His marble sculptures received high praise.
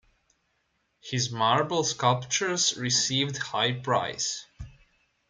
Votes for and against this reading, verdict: 0, 2, rejected